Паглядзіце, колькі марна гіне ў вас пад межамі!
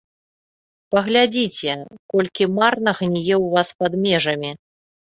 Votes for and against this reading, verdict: 1, 2, rejected